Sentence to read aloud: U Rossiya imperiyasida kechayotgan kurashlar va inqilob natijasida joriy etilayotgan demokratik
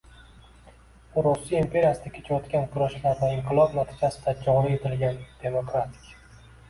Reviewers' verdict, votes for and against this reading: rejected, 1, 2